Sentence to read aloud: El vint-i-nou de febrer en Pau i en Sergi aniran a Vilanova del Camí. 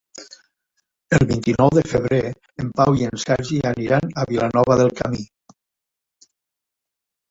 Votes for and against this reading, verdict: 2, 0, accepted